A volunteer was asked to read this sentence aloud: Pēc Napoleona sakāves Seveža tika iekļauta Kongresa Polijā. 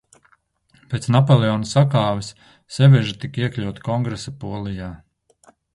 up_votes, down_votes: 2, 1